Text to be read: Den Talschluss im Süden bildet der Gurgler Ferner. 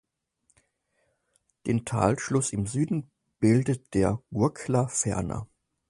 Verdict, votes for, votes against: accepted, 4, 2